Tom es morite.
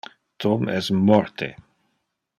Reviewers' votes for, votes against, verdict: 1, 2, rejected